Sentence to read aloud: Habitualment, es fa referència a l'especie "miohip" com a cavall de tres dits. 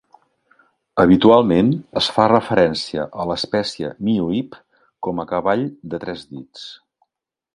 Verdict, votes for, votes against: accepted, 4, 0